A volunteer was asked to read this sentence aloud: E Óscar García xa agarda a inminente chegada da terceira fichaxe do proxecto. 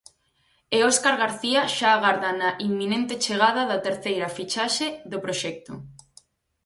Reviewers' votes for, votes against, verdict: 0, 4, rejected